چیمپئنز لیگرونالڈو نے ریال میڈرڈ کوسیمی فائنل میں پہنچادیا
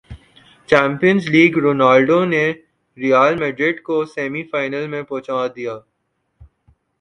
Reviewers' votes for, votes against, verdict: 13, 2, accepted